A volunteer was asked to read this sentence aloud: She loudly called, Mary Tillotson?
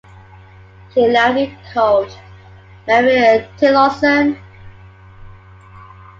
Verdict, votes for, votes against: accepted, 2, 1